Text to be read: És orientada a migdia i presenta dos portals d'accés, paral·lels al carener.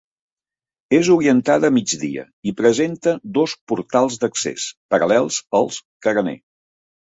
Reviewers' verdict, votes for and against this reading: rejected, 0, 2